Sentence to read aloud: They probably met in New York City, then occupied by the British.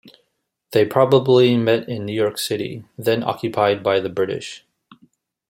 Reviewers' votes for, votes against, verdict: 2, 0, accepted